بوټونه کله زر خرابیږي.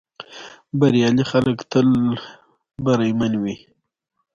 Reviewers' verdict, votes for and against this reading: rejected, 1, 2